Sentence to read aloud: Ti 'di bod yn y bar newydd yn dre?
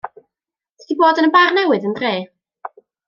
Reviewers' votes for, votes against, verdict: 2, 0, accepted